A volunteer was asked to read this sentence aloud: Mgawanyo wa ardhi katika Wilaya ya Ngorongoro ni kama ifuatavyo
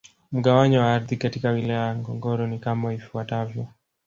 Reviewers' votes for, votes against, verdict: 1, 2, rejected